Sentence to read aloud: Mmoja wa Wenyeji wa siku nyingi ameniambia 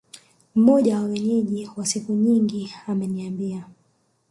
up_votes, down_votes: 2, 0